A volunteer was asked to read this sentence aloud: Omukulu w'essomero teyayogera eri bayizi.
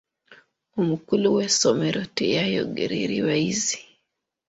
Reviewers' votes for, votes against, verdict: 2, 0, accepted